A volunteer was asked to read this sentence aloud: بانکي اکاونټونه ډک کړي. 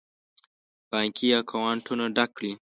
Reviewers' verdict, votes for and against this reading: rejected, 1, 2